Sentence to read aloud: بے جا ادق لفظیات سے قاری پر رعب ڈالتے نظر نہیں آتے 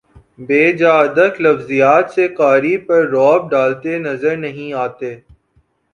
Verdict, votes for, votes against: accepted, 2, 0